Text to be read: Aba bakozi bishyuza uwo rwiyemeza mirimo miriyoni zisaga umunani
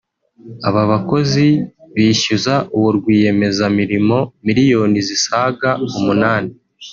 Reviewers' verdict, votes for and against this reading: accepted, 4, 0